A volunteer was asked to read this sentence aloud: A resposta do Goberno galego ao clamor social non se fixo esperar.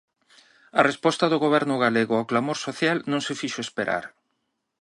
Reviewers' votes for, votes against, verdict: 6, 1, accepted